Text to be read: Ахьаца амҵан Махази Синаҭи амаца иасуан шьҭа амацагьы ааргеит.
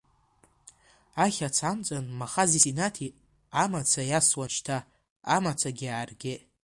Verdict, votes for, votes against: accepted, 2, 1